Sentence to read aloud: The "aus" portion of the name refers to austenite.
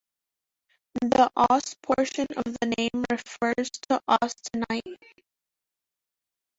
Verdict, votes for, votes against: rejected, 1, 2